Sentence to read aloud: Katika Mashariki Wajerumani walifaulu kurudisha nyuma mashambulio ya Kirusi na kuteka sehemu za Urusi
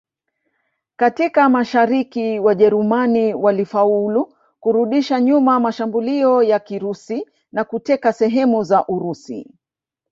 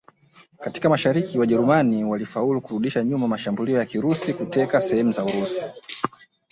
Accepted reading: second